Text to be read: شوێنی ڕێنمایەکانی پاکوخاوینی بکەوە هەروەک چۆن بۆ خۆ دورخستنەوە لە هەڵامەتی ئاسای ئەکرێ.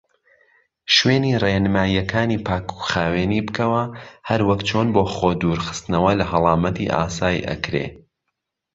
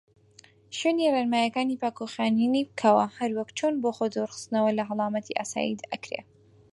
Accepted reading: first